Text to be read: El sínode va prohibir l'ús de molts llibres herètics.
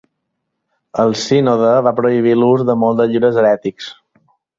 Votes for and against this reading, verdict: 2, 3, rejected